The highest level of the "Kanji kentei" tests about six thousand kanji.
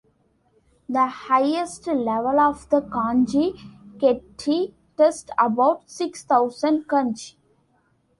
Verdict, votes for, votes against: accepted, 2, 1